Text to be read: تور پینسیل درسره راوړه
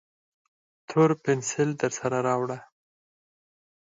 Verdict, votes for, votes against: rejected, 2, 4